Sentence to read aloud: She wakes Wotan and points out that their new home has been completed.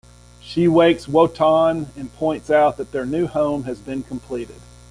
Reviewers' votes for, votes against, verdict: 2, 0, accepted